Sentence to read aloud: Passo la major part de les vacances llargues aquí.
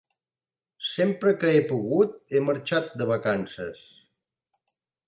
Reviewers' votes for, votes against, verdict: 1, 2, rejected